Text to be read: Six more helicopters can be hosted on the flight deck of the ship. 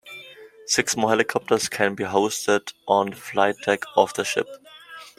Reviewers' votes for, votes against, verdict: 1, 2, rejected